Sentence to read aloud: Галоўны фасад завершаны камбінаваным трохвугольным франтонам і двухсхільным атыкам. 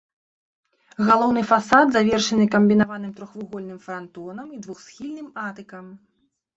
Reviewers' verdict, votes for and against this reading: rejected, 1, 2